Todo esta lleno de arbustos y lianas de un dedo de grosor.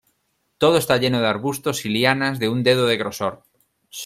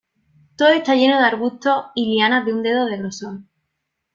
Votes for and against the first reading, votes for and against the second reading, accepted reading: 2, 0, 0, 2, first